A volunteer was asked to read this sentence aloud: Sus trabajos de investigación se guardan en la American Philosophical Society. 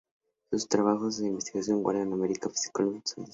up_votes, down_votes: 0, 8